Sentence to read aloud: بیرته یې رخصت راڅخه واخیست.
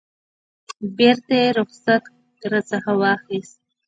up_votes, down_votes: 1, 2